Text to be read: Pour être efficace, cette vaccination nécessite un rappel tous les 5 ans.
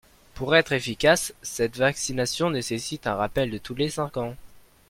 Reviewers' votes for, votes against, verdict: 0, 2, rejected